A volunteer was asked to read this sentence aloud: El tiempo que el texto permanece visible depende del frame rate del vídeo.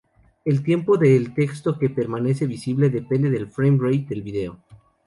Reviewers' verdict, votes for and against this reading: rejected, 0, 2